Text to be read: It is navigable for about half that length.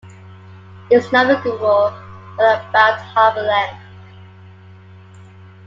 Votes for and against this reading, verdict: 1, 2, rejected